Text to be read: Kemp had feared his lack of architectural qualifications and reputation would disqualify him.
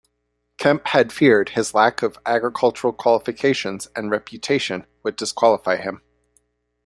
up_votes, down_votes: 0, 2